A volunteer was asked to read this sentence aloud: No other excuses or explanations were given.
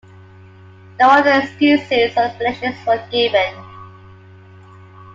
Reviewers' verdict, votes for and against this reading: accepted, 2, 0